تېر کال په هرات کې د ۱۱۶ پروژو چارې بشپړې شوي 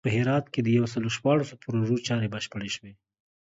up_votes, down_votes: 0, 2